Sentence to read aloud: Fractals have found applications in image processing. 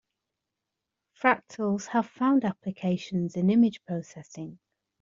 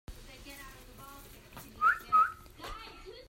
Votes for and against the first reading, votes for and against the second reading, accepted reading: 2, 0, 0, 2, first